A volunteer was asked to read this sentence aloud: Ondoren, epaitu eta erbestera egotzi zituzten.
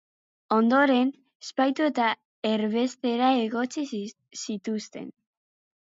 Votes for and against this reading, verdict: 0, 2, rejected